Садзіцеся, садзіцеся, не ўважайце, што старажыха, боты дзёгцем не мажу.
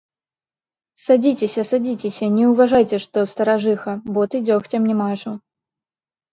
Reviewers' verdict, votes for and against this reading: rejected, 0, 2